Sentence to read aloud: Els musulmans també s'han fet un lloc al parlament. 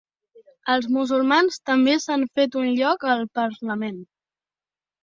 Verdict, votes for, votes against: accepted, 2, 0